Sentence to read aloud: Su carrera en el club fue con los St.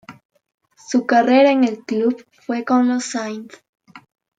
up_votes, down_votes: 2, 1